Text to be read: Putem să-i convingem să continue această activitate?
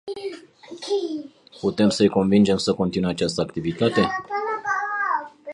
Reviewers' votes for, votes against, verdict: 0, 2, rejected